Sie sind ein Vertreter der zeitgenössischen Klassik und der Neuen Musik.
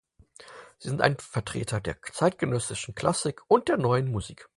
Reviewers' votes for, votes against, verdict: 4, 0, accepted